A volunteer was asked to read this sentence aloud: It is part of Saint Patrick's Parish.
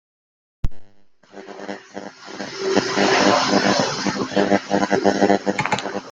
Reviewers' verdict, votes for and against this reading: rejected, 0, 2